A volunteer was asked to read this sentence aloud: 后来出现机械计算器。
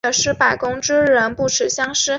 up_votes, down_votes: 1, 4